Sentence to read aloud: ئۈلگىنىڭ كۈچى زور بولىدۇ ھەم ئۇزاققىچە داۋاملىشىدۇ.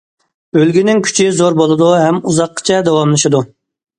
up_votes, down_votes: 2, 0